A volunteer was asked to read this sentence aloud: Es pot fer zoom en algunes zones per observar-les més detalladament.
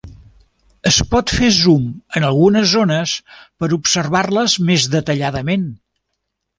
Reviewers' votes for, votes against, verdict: 3, 0, accepted